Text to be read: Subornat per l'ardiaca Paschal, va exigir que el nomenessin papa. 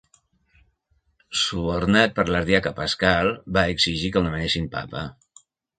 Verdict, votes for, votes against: accepted, 2, 0